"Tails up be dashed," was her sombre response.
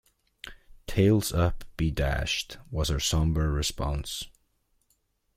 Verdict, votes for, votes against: accepted, 2, 0